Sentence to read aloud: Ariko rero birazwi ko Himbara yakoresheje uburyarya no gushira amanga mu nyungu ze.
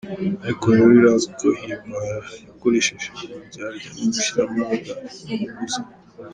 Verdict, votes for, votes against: rejected, 0, 2